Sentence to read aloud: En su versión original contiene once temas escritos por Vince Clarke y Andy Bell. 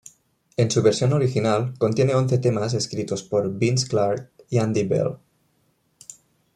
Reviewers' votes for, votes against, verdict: 2, 1, accepted